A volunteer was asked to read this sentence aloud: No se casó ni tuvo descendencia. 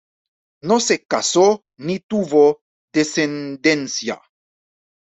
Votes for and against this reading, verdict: 2, 0, accepted